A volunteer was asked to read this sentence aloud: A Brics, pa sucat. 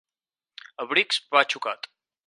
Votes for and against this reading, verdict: 0, 4, rejected